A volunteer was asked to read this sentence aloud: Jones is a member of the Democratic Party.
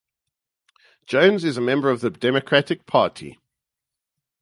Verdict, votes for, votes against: accepted, 4, 0